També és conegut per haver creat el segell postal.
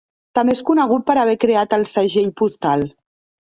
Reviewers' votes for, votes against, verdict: 2, 0, accepted